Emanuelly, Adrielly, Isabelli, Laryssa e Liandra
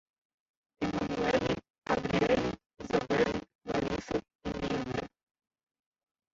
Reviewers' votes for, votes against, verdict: 1, 2, rejected